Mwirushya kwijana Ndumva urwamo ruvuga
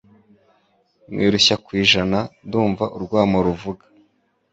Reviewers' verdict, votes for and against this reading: accepted, 3, 0